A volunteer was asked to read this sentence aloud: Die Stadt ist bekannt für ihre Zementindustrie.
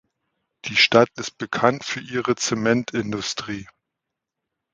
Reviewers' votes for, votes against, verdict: 2, 0, accepted